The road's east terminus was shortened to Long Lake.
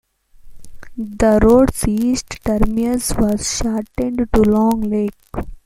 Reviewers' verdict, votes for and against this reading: accepted, 2, 0